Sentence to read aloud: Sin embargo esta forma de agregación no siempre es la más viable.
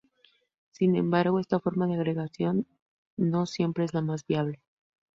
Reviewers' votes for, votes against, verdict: 0, 2, rejected